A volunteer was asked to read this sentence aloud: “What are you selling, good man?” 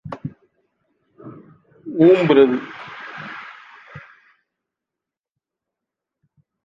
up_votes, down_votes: 0, 2